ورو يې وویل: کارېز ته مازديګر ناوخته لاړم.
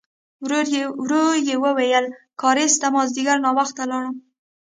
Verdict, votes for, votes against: accepted, 2, 0